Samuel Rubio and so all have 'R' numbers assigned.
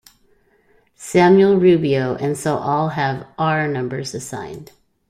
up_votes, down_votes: 2, 0